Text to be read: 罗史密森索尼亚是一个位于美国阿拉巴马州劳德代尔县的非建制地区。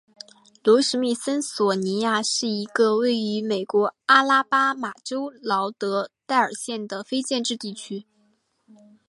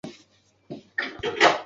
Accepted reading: first